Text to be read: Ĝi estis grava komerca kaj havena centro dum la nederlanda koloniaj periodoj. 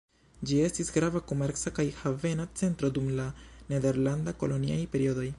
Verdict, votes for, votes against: accepted, 2, 0